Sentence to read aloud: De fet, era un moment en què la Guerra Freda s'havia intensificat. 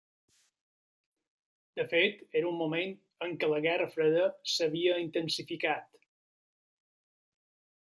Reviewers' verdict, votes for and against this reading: accepted, 3, 0